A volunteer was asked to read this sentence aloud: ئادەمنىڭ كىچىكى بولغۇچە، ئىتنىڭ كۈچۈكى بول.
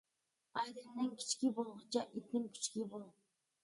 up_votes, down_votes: 1, 2